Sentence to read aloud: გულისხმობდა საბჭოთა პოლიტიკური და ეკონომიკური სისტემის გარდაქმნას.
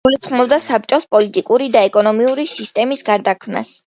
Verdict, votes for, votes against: rejected, 1, 2